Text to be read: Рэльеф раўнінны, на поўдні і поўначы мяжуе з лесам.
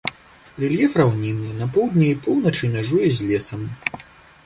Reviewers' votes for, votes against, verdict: 2, 0, accepted